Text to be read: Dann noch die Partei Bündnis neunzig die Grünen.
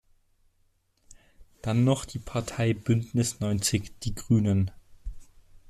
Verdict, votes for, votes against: accepted, 2, 0